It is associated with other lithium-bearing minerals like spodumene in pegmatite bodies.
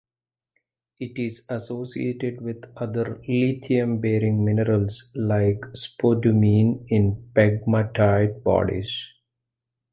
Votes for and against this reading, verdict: 2, 1, accepted